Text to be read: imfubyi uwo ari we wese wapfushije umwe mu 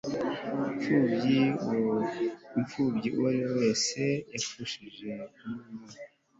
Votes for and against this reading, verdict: 1, 3, rejected